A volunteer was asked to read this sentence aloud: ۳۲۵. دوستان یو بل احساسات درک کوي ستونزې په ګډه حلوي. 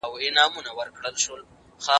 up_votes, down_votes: 0, 2